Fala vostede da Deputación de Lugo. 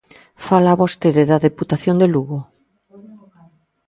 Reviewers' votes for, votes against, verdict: 0, 2, rejected